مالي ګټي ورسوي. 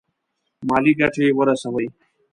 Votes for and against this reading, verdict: 1, 2, rejected